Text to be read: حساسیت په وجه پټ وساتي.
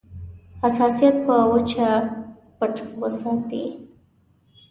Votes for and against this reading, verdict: 2, 1, accepted